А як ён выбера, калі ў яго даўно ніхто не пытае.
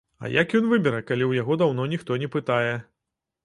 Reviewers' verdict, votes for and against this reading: accepted, 2, 0